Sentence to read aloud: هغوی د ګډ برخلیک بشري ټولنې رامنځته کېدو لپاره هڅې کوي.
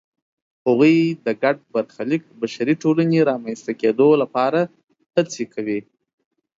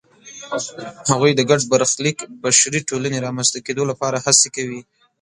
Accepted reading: first